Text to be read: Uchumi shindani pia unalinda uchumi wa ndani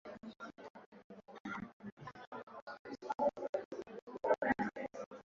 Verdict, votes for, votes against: rejected, 0, 2